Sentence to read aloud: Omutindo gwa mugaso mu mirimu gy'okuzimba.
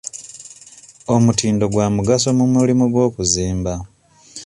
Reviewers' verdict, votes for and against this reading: rejected, 0, 2